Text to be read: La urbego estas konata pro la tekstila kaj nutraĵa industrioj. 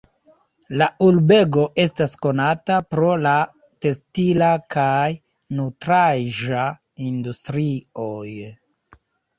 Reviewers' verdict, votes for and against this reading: rejected, 0, 2